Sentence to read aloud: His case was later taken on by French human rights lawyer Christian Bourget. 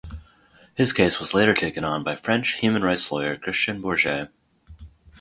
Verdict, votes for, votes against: accepted, 2, 0